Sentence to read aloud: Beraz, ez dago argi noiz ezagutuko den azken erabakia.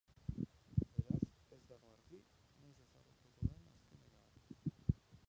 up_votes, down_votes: 0, 2